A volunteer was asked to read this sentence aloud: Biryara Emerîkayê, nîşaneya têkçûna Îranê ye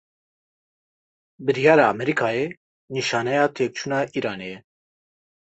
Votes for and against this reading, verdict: 2, 0, accepted